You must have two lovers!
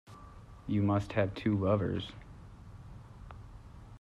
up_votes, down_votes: 2, 0